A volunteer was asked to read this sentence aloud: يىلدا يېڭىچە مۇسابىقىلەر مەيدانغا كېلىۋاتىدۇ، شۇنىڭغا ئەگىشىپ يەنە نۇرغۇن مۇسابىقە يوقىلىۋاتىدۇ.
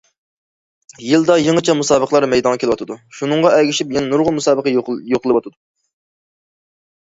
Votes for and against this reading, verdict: 2, 1, accepted